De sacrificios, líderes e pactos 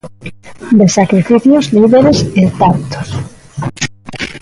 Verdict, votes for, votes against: rejected, 0, 2